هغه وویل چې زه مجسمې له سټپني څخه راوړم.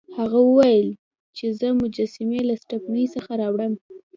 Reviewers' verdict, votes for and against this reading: accepted, 2, 0